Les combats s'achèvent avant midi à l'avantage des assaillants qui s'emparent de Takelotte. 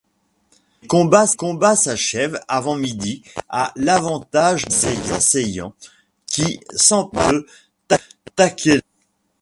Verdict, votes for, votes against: rejected, 0, 2